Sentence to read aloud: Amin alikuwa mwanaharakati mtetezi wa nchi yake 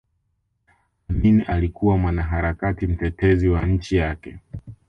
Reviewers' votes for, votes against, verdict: 1, 2, rejected